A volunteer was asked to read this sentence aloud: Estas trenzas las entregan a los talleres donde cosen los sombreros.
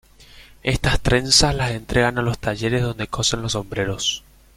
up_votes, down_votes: 1, 2